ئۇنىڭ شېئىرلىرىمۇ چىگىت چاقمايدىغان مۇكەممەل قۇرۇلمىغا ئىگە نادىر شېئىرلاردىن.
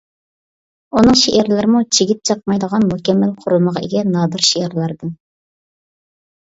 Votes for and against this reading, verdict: 2, 0, accepted